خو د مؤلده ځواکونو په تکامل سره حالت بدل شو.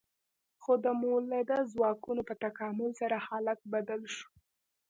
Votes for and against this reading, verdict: 2, 1, accepted